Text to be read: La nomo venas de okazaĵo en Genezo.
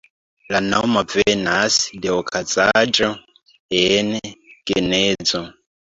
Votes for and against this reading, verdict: 1, 2, rejected